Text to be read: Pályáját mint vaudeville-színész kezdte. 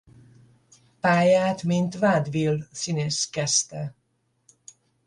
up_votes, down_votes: 0, 10